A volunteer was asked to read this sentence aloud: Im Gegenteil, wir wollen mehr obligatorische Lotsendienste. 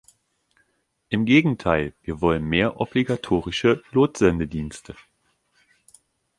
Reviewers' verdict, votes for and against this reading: rejected, 1, 2